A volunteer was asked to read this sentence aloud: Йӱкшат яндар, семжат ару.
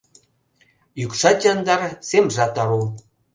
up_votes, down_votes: 2, 0